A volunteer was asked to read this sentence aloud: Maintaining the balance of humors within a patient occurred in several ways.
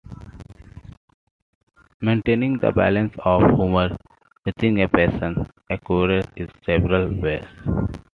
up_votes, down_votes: 2, 1